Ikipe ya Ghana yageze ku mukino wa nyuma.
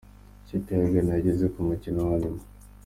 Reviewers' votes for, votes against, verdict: 2, 1, accepted